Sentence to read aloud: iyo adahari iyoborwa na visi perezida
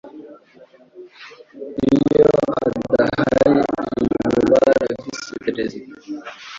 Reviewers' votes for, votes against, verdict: 0, 2, rejected